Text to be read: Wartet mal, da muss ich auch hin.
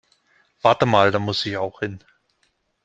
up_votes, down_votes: 1, 2